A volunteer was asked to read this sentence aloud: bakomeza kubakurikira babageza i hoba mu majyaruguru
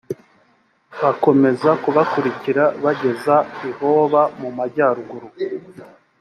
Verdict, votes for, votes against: rejected, 1, 3